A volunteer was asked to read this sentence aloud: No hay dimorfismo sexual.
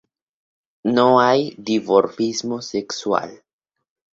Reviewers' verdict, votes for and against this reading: accepted, 2, 0